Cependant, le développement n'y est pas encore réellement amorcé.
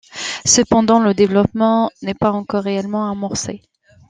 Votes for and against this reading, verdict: 2, 0, accepted